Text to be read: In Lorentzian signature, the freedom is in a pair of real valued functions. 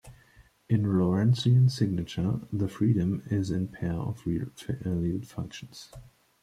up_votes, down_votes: 1, 2